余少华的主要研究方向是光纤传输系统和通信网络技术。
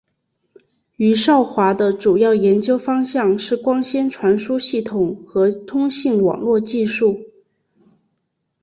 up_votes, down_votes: 2, 0